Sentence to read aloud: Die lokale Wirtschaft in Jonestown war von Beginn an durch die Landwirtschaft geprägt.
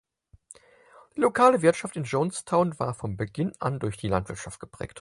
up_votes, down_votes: 4, 2